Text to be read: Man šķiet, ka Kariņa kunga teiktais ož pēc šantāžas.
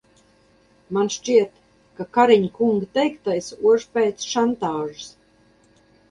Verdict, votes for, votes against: rejected, 2, 2